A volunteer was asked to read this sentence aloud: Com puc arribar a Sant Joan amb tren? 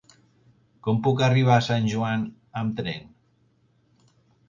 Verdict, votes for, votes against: accepted, 4, 0